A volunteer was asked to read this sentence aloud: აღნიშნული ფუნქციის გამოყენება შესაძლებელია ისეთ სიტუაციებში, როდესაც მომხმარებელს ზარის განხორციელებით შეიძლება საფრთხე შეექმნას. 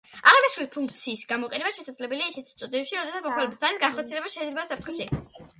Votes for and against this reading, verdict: 2, 1, accepted